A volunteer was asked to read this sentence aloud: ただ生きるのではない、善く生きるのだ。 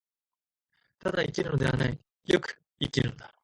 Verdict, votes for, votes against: rejected, 0, 2